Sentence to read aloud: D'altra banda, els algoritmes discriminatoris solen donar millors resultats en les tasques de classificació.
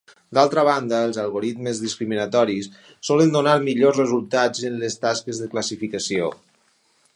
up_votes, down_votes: 4, 0